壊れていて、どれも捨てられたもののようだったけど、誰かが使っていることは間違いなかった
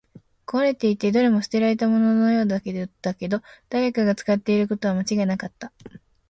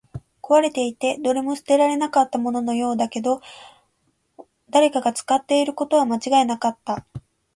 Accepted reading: second